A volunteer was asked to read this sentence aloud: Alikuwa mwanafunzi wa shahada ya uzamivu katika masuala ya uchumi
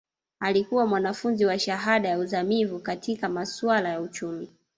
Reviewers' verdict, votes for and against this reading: rejected, 1, 2